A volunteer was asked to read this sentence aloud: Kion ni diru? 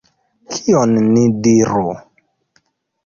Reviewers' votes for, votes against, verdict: 2, 0, accepted